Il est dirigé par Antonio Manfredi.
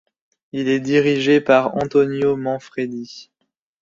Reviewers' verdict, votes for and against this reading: accepted, 2, 0